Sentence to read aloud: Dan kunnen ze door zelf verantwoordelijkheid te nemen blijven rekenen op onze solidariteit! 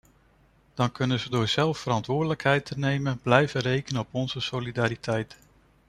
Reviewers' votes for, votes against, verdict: 2, 0, accepted